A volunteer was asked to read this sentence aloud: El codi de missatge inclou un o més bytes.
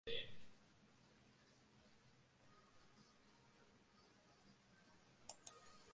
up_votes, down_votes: 0, 2